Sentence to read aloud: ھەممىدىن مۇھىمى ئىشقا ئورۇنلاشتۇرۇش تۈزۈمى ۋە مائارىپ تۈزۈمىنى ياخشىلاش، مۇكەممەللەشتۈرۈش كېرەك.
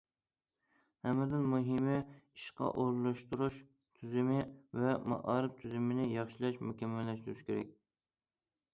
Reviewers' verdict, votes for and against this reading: accepted, 2, 0